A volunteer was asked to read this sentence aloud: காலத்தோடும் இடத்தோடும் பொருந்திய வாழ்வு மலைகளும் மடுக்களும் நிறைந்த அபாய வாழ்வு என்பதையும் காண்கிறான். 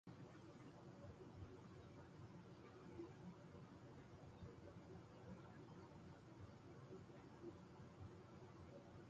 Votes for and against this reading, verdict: 0, 2, rejected